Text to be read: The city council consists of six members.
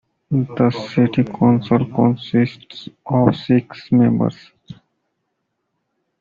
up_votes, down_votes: 2, 1